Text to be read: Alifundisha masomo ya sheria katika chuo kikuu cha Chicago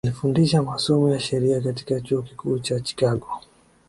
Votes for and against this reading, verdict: 2, 1, accepted